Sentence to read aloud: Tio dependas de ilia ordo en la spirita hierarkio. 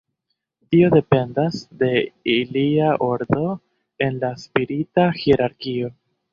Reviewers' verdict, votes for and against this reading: rejected, 0, 2